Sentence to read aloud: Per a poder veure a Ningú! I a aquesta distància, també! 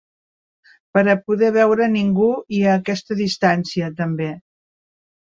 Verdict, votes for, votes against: rejected, 1, 2